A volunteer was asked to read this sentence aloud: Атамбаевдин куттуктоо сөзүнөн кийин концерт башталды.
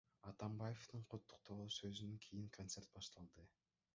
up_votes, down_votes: 0, 2